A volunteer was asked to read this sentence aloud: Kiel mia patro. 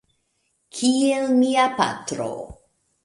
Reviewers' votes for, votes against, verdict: 1, 2, rejected